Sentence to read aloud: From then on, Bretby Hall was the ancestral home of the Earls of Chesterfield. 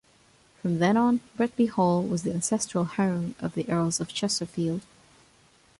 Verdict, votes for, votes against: accepted, 2, 0